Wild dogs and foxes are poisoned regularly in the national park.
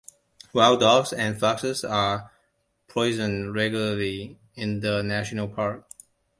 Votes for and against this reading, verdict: 2, 0, accepted